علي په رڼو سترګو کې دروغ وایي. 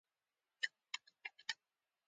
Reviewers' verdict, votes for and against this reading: accepted, 2, 1